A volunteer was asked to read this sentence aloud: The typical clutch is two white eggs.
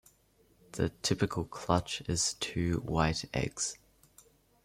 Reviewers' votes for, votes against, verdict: 2, 1, accepted